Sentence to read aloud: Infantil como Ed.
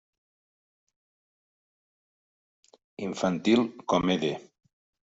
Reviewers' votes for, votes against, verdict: 0, 2, rejected